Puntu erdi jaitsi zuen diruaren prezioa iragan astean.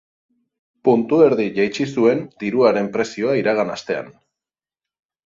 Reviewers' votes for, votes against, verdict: 8, 0, accepted